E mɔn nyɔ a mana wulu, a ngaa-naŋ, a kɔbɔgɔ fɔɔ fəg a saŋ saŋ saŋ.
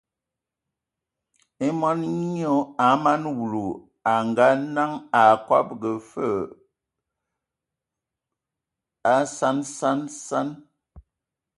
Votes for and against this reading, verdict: 1, 2, rejected